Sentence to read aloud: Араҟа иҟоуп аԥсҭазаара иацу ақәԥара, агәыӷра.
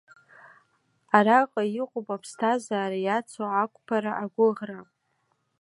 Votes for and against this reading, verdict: 2, 1, accepted